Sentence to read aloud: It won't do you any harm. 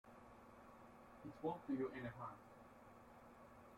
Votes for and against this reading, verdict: 1, 2, rejected